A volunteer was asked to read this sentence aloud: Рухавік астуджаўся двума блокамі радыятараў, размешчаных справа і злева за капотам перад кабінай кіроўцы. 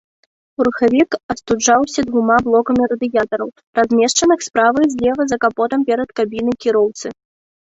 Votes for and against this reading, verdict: 2, 0, accepted